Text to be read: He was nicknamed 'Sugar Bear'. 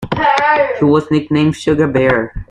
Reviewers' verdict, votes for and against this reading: rejected, 0, 2